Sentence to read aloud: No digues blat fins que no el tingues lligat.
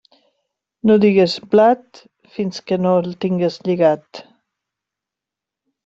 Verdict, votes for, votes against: accepted, 3, 0